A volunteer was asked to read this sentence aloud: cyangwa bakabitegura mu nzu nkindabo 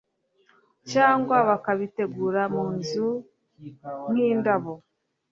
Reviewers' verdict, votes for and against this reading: accepted, 2, 0